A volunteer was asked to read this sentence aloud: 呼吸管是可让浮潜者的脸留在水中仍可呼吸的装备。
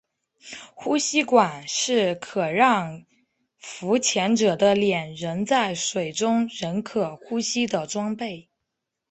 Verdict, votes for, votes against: rejected, 1, 2